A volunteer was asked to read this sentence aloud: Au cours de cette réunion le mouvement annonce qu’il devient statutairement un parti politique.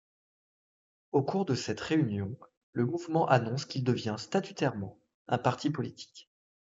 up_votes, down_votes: 2, 0